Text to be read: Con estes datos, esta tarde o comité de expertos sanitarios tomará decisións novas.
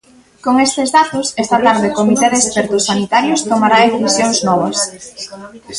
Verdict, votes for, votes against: accepted, 2, 0